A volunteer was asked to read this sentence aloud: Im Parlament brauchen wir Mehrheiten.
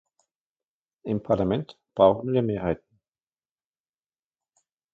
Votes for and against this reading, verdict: 0, 2, rejected